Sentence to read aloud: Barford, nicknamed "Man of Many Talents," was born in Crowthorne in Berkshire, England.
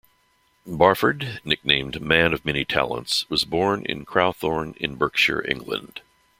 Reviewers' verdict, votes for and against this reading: accepted, 2, 0